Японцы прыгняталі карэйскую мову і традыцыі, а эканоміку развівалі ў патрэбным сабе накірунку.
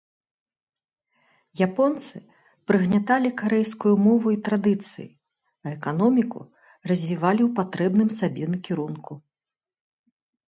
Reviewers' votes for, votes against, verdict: 3, 0, accepted